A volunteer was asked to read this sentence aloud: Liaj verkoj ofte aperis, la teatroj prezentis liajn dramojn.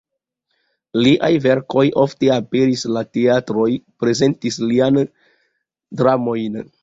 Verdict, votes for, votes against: accepted, 2, 0